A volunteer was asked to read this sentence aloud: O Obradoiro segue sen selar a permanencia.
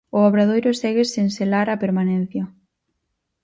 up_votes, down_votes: 4, 0